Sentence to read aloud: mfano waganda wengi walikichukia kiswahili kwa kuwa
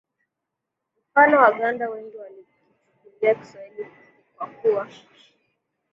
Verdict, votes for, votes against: rejected, 0, 2